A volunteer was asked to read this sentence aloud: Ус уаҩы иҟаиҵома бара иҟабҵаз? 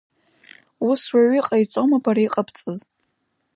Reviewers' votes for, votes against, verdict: 2, 1, accepted